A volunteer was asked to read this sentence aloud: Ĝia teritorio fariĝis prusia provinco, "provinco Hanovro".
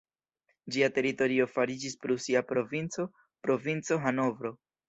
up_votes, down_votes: 1, 2